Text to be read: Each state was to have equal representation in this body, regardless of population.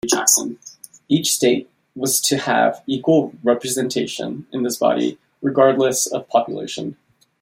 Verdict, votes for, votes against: rejected, 1, 2